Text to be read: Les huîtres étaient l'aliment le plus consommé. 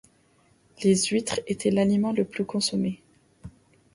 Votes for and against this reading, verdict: 2, 0, accepted